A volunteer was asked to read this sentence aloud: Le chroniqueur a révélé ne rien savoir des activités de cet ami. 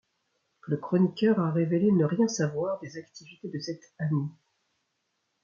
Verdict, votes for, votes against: accepted, 2, 0